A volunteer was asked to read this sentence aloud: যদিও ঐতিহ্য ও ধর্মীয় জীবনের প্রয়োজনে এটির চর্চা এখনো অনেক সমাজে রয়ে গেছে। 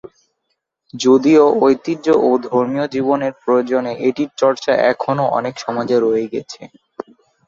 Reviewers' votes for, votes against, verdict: 2, 0, accepted